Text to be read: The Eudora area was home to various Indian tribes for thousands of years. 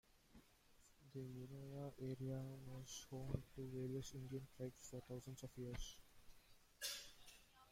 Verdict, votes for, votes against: rejected, 0, 2